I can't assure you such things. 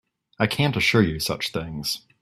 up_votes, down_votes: 2, 0